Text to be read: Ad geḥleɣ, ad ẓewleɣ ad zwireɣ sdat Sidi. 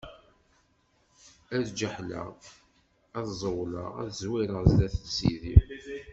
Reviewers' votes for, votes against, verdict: 1, 2, rejected